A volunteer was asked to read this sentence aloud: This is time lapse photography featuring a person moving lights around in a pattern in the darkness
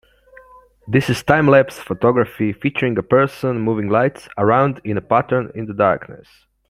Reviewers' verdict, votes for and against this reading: accepted, 2, 0